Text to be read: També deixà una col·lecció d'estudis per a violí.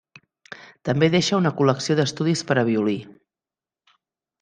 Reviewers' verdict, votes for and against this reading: rejected, 1, 2